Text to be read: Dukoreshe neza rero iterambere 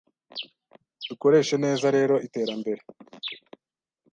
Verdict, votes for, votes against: accepted, 2, 0